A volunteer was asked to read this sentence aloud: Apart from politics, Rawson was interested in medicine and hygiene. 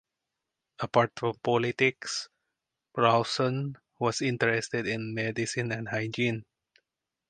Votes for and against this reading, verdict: 4, 0, accepted